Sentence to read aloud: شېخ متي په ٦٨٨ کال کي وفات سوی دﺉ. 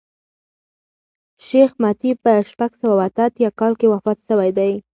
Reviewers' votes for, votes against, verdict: 0, 2, rejected